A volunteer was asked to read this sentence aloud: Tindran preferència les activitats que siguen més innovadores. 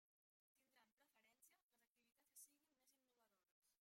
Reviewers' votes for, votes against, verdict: 0, 2, rejected